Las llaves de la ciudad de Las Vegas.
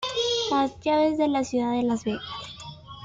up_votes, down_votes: 0, 2